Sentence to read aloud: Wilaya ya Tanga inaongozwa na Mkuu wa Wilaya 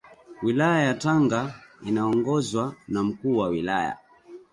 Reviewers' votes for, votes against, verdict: 1, 2, rejected